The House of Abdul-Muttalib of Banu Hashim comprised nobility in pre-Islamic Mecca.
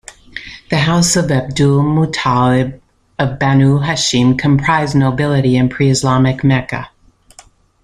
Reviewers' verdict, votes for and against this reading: accepted, 2, 0